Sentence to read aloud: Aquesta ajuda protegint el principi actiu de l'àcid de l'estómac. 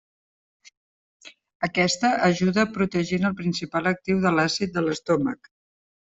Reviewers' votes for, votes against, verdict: 0, 2, rejected